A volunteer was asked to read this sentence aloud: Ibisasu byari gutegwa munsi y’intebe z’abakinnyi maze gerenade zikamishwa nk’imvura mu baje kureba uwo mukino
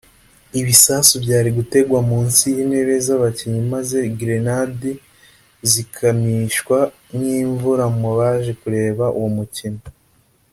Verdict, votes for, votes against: accepted, 2, 0